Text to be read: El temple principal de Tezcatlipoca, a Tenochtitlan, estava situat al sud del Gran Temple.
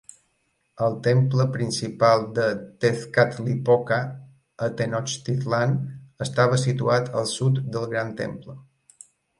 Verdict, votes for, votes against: accepted, 3, 0